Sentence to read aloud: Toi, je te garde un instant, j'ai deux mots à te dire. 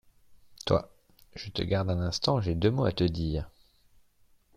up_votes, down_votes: 2, 0